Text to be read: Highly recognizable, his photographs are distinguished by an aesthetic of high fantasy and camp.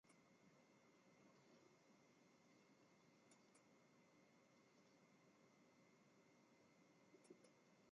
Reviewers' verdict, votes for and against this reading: rejected, 0, 2